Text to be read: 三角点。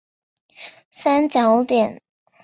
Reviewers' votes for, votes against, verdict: 2, 1, accepted